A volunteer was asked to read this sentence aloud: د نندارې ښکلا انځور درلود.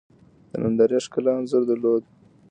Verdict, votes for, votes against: rejected, 0, 2